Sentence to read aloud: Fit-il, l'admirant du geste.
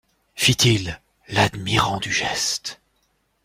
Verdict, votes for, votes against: accepted, 2, 0